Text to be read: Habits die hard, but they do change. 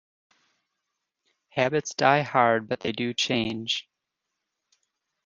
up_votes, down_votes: 2, 0